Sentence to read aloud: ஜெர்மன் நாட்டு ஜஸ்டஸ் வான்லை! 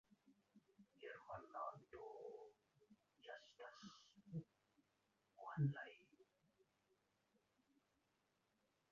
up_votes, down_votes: 0, 2